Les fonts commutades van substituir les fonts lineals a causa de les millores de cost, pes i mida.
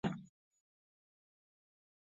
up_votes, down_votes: 0, 3